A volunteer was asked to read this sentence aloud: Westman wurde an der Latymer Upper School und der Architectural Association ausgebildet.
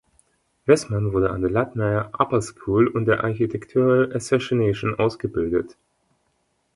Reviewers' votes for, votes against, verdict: 1, 2, rejected